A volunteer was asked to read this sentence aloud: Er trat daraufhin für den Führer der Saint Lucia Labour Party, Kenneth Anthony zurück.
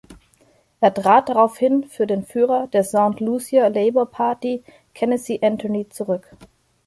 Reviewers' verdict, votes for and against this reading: rejected, 0, 2